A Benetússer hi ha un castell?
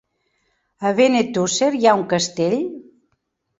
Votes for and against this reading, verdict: 3, 0, accepted